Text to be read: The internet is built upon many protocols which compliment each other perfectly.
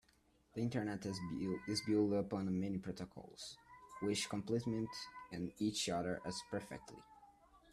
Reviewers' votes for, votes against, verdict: 1, 2, rejected